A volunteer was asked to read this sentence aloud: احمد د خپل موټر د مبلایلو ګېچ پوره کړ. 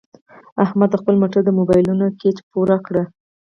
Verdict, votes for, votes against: rejected, 0, 4